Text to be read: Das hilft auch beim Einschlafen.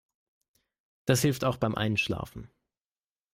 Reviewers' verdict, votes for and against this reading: accepted, 3, 0